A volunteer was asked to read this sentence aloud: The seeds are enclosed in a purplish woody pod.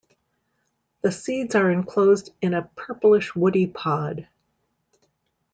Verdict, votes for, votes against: accepted, 2, 0